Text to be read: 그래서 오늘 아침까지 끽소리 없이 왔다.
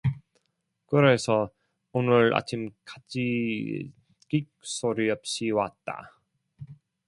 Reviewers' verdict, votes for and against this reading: accepted, 2, 1